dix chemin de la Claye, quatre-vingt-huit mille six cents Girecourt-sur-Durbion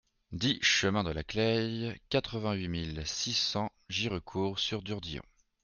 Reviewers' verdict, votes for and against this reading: rejected, 0, 2